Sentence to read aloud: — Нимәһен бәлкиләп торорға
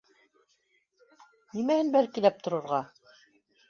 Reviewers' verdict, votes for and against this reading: accepted, 2, 0